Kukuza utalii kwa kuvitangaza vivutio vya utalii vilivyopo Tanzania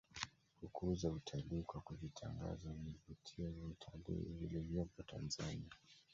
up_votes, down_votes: 1, 2